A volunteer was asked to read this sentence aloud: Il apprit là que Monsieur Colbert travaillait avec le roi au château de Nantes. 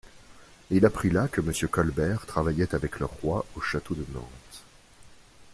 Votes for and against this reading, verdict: 2, 0, accepted